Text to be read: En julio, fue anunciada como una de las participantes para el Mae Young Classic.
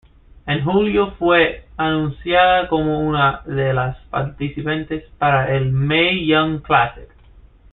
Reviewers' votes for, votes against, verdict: 2, 0, accepted